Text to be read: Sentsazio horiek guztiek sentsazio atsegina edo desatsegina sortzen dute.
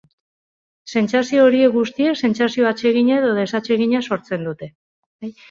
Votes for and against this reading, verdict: 2, 0, accepted